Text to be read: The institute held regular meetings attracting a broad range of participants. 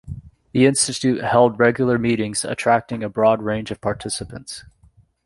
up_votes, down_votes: 2, 0